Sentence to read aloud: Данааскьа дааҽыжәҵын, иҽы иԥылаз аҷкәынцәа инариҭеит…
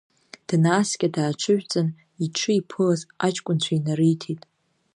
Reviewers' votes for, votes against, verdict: 2, 0, accepted